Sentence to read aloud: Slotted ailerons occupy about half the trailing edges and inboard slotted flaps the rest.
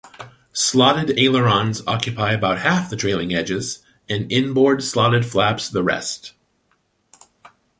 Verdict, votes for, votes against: accepted, 2, 0